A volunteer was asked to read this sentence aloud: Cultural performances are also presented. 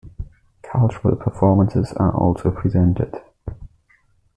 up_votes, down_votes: 2, 0